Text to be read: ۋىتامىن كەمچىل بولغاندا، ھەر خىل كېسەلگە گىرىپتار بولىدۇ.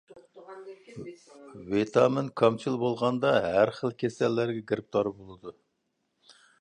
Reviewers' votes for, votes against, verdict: 0, 2, rejected